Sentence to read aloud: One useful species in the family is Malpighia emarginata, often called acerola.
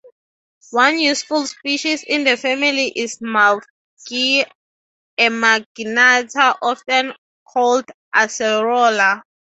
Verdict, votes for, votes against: rejected, 0, 6